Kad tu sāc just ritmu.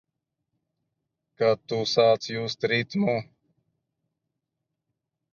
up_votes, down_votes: 2, 0